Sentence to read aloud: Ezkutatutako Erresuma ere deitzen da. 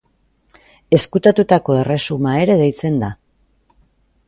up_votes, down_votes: 2, 0